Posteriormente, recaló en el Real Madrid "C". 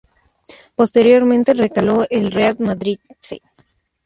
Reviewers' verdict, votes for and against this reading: rejected, 0, 2